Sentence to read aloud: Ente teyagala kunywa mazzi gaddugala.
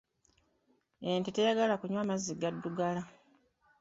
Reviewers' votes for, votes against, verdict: 2, 0, accepted